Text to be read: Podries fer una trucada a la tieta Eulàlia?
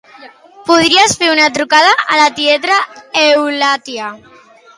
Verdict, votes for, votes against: rejected, 0, 2